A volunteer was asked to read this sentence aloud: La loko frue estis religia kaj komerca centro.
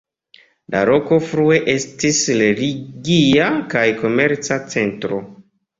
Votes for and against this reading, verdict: 2, 0, accepted